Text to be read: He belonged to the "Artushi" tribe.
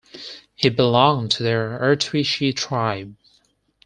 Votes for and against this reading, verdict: 4, 0, accepted